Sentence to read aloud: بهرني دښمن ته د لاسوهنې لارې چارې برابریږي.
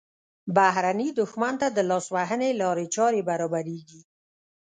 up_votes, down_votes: 0, 2